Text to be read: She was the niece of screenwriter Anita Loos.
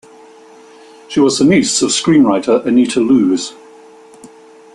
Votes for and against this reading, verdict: 2, 0, accepted